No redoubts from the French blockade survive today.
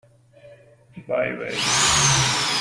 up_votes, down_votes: 0, 2